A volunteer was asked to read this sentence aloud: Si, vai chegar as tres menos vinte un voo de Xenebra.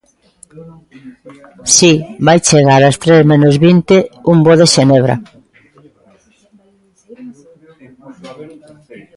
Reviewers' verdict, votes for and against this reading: accepted, 2, 0